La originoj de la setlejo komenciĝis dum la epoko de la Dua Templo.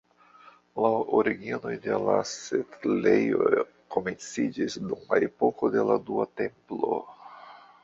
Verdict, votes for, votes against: rejected, 1, 2